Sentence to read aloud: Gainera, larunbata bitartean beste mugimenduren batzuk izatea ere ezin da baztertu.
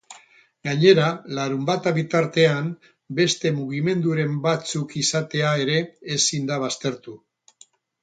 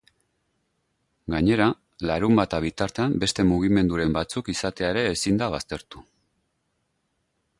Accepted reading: second